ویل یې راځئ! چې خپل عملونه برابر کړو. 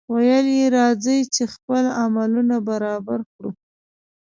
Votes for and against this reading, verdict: 2, 0, accepted